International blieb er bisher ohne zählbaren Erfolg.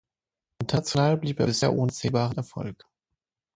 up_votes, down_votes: 0, 9